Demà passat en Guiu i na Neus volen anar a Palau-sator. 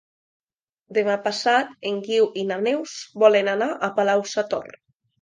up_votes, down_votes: 2, 0